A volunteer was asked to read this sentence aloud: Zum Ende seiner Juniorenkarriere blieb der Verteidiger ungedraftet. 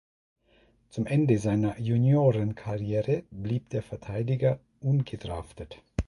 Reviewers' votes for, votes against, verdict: 2, 0, accepted